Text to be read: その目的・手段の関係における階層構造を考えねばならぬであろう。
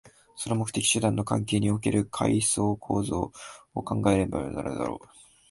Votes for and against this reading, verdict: 2, 1, accepted